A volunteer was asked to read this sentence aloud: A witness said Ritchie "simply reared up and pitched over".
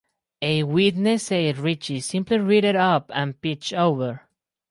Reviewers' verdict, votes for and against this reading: rejected, 0, 4